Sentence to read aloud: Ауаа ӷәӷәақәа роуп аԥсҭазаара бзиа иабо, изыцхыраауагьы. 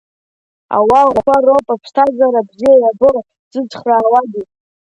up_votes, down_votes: 0, 2